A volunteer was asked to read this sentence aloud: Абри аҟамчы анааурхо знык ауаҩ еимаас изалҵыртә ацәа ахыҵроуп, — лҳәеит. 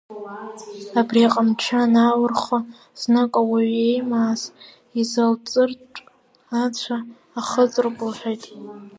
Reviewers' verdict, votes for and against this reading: rejected, 0, 2